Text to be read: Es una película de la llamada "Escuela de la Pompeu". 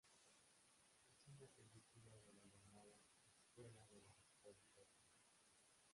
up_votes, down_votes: 1, 2